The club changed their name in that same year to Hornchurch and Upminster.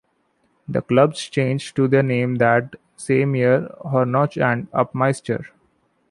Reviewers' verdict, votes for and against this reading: accepted, 2, 0